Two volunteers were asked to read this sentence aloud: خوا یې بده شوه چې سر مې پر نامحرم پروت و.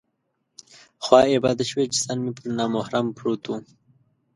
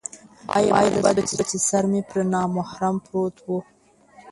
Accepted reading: first